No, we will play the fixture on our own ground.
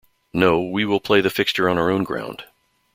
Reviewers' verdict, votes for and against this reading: accepted, 2, 0